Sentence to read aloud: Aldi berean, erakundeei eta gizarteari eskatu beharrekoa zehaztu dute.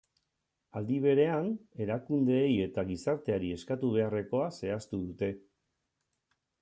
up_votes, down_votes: 4, 0